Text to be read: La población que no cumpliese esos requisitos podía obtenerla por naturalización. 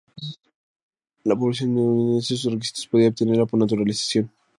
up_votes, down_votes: 0, 2